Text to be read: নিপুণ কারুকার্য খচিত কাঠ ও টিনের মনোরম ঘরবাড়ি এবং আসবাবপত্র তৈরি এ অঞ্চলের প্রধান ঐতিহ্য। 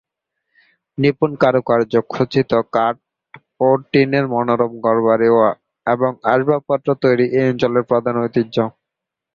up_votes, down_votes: 2, 0